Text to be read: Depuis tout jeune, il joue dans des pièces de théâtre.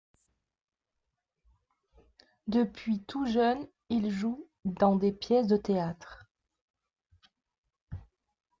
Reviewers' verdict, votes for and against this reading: accepted, 2, 0